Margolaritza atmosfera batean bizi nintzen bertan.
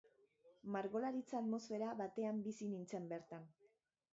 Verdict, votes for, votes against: accepted, 2, 0